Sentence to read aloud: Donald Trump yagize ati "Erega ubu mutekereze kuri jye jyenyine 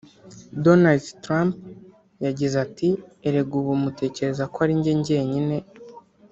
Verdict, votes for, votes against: accepted, 2, 0